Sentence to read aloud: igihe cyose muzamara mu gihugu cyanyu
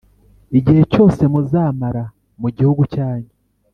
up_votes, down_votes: 3, 0